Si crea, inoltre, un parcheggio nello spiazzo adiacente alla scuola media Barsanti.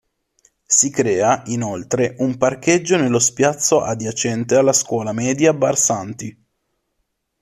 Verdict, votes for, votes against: accepted, 2, 0